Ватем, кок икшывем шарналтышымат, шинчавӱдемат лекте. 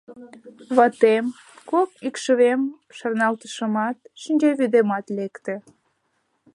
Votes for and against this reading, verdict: 2, 0, accepted